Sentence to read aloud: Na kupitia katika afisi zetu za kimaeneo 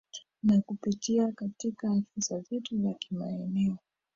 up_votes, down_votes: 0, 2